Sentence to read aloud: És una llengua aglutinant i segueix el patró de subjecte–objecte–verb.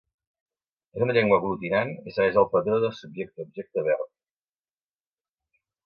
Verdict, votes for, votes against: rejected, 1, 2